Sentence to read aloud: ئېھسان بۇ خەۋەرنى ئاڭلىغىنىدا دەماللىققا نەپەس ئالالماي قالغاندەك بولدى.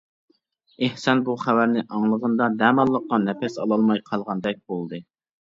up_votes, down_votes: 2, 1